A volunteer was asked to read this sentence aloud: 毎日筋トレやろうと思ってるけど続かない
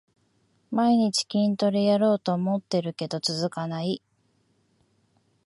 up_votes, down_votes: 2, 1